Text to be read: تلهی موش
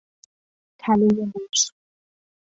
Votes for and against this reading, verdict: 2, 0, accepted